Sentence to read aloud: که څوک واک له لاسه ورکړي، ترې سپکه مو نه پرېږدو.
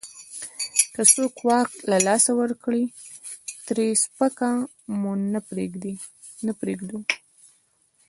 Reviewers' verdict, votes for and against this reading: rejected, 1, 2